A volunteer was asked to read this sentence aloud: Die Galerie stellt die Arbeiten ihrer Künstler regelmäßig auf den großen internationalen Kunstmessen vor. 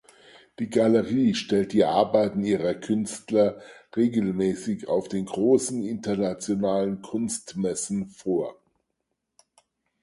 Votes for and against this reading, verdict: 4, 0, accepted